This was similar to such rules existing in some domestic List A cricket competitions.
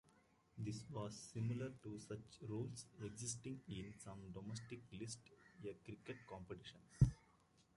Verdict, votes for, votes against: accepted, 2, 0